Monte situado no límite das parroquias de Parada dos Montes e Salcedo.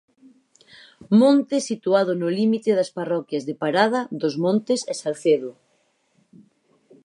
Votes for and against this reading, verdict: 4, 0, accepted